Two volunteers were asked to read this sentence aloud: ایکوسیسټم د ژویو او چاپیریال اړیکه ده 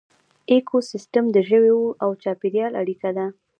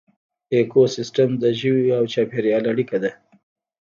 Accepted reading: first